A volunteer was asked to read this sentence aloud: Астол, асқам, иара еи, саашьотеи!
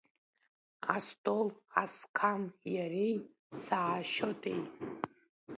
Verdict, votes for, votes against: rejected, 1, 2